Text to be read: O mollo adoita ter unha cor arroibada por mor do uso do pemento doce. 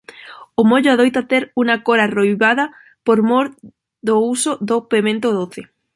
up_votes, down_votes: 3, 0